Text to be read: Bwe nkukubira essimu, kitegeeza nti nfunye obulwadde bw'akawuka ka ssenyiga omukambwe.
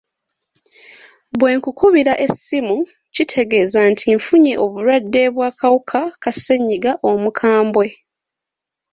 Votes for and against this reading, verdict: 2, 0, accepted